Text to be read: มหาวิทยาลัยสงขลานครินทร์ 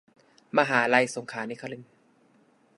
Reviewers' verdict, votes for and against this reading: rejected, 1, 2